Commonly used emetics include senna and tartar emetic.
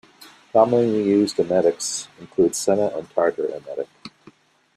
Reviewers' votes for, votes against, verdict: 2, 0, accepted